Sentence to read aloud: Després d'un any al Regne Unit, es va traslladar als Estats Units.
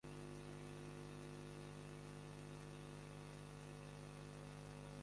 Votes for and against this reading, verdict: 0, 2, rejected